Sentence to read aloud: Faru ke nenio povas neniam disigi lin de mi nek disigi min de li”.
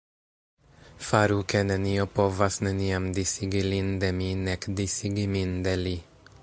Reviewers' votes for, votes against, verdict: 2, 1, accepted